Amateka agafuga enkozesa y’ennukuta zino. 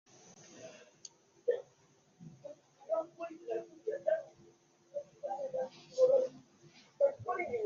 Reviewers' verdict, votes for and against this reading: rejected, 0, 2